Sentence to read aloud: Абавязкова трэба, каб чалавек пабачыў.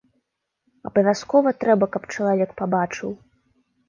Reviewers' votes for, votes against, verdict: 2, 0, accepted